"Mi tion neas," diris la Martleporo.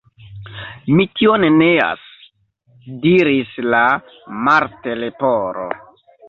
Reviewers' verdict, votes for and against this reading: accepted, 2, 0